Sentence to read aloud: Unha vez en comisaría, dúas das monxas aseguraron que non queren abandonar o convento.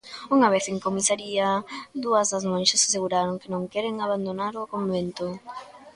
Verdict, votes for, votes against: rejected, 1, 2